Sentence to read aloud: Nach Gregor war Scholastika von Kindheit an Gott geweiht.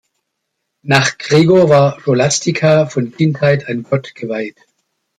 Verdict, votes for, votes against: accepted, 2, 1